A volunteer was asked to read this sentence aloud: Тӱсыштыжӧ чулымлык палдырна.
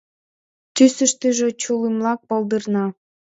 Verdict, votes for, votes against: accepted, 2, 0